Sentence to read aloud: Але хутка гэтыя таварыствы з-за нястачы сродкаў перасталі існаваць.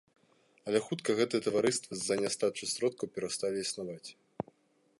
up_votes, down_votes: 2, 0